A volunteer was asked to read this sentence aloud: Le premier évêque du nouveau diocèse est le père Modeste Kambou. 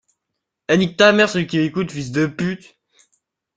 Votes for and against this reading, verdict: 0, 2, rejected